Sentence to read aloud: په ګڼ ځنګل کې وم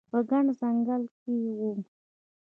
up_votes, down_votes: 2, 1